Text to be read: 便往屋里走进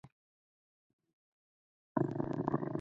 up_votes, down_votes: 0, 4